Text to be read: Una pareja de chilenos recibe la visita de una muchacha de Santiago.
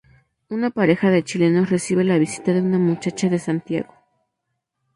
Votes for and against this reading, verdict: 2, 2, rejected